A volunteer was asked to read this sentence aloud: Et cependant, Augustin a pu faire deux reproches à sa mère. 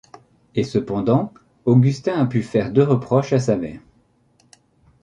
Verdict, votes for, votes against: accepted, 2, 0